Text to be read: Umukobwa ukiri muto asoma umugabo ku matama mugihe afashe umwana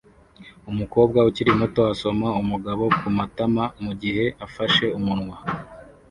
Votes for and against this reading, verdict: 0, 2, rejected